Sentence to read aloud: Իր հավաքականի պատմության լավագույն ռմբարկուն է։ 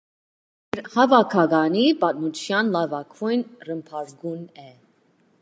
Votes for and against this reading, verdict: 1, 2, rejected